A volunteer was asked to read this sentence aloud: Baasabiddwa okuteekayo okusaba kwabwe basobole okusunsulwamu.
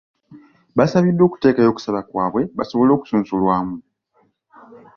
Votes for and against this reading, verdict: 2, 0, accepted